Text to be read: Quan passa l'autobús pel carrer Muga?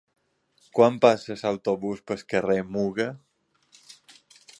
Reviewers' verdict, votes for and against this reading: accepted, 2, 0